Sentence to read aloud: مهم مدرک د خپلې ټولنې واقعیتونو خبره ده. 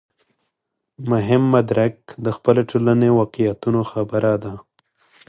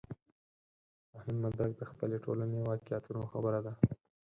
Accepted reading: first